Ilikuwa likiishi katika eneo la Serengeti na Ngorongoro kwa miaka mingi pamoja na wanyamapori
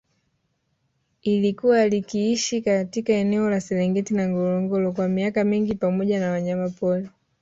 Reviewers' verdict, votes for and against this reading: accepted, 3, 1